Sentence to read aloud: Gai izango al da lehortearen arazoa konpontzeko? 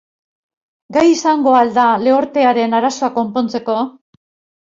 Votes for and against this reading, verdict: 6, 0, accepted